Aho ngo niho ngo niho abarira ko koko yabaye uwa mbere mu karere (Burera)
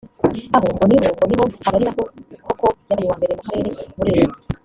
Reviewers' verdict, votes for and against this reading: rejected, 0, 2